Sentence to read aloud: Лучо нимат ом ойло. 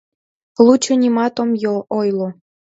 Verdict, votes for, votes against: rejected, 0, 2